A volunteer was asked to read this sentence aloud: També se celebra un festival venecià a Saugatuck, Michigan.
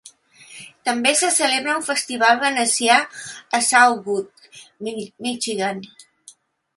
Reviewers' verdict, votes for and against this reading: rejected, 0, 3